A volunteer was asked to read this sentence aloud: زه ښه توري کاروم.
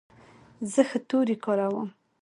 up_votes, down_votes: 2, 0